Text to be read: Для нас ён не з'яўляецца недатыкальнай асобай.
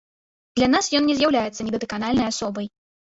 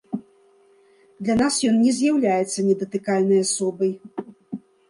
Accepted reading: second